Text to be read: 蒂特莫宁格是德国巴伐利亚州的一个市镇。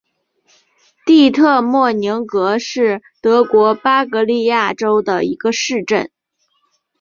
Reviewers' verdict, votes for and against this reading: accepted, 3, 0